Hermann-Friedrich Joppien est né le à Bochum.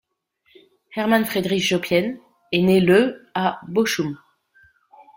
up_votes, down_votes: 1, 2